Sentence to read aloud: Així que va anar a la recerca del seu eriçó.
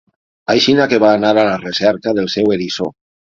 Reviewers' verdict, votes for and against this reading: rejected, 0, 6